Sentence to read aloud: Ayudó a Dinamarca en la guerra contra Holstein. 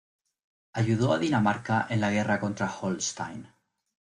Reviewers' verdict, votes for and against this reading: accepted, 2, 0